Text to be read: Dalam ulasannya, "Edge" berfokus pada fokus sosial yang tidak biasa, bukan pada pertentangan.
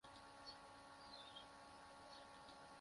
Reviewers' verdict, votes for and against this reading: rejected, 0, 2